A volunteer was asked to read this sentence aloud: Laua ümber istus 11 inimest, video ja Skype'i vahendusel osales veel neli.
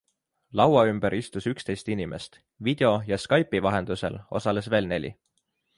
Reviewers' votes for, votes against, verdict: 0, 2, rejected